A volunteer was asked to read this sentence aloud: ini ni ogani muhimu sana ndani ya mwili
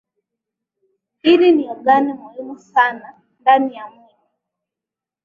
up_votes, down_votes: 3, 0